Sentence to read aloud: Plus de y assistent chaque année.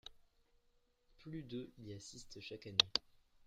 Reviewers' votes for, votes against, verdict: 1, 2, rejected